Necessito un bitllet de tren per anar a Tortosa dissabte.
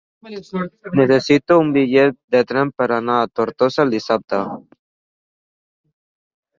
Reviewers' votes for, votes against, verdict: 2, 0, accepted